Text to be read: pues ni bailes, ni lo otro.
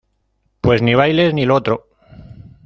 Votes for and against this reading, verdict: 1, 2, rejected